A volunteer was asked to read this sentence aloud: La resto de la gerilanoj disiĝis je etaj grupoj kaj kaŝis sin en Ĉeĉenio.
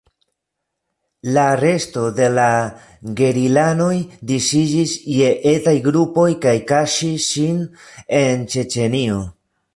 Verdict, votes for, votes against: rejected, 0, 3